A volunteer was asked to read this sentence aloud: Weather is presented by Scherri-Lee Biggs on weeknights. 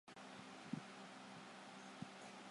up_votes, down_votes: 0, 2